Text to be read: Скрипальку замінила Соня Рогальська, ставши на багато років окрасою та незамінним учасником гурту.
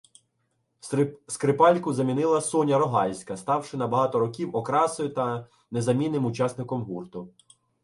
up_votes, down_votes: 0, 2